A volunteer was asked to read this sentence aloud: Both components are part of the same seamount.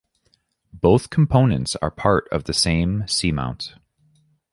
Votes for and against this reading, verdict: 2, 0, accepted